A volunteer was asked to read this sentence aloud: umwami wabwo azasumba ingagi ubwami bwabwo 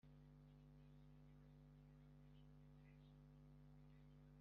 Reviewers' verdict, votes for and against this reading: rejected, 1, 2